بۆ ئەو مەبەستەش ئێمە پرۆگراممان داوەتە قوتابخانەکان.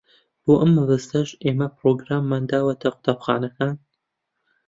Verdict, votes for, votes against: accepted, 2, 1